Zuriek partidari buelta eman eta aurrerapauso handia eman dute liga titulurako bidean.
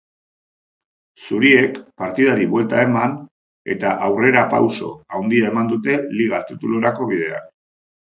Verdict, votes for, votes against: accepted, 2, 1